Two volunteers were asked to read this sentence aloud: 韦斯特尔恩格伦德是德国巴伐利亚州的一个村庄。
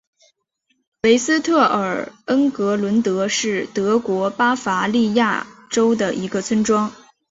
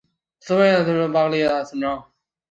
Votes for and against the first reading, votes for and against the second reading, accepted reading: 2, 0, 1, 4, first